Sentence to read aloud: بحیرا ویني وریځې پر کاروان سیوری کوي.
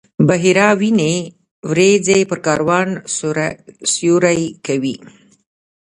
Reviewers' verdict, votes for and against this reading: rejected, 1, 2